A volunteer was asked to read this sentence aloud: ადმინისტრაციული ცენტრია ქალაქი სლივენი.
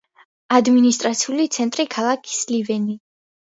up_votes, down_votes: 2, 0